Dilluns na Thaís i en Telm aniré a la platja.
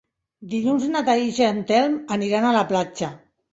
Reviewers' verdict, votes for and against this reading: rejected, 0, 2